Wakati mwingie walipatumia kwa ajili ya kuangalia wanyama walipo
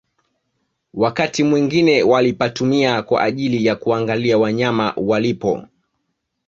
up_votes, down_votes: 2, 1